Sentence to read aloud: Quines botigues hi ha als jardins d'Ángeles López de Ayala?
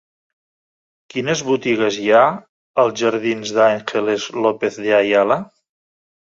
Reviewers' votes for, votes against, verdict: 5, 0, accepted